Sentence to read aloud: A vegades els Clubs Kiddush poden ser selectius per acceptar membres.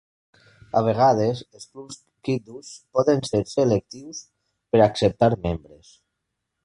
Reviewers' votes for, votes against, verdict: 1, 3, rejected